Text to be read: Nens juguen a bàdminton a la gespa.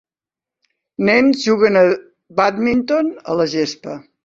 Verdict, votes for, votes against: rejected, 0, 2